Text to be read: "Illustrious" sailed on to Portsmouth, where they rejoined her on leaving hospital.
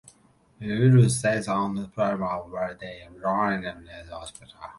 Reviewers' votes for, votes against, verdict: 0, 2, rejected